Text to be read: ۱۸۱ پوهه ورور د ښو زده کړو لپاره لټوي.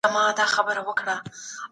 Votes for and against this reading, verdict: 0, 2, rejected